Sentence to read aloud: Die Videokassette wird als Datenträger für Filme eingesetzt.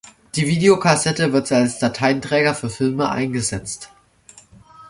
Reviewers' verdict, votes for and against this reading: rejected, 0, 2